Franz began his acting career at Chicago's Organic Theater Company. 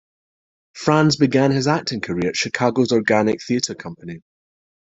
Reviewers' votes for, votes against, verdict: 2, 0, accepted